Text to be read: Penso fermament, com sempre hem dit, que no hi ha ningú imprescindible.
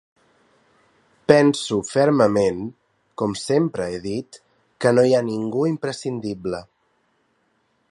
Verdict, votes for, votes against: rejected, 1, 2